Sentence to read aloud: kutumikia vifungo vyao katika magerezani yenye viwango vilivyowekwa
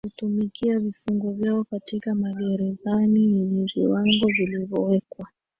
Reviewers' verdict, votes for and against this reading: accepted, 2, 1